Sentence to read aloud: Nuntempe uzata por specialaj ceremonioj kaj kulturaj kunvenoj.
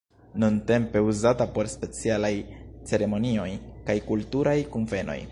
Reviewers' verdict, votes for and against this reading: rejected, 1, 2